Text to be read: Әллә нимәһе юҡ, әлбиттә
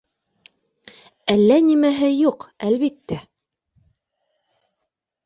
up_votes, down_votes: 2, 0